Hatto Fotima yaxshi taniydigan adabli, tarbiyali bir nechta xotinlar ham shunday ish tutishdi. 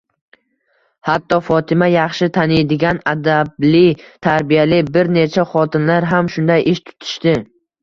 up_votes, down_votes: 2, 0